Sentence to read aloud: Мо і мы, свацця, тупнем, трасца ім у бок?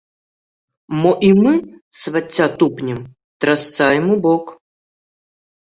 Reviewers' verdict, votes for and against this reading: accepted, 2, 1